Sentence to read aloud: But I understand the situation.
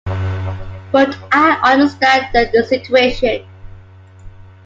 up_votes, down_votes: 2, 1